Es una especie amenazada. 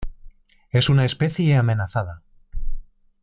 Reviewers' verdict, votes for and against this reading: accepted, 2, 0